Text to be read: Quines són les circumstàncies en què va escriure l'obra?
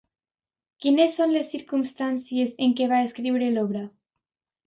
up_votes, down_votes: 2, 0